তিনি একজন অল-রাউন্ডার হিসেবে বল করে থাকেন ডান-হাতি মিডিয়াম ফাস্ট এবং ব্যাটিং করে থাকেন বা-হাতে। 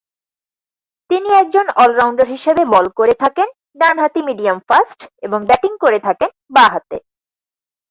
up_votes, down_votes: 4, 2